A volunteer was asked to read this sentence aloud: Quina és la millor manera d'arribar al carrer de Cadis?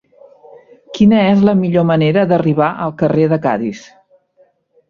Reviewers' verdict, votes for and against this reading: accepted, 5, 0